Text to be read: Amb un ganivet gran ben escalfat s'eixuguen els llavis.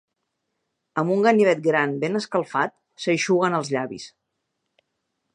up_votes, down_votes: 3, 0